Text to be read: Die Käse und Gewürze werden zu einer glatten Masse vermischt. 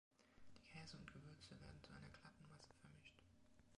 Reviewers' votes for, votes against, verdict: 2, 0, accepted